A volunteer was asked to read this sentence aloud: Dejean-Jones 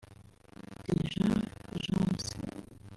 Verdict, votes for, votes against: rejected, 1, 2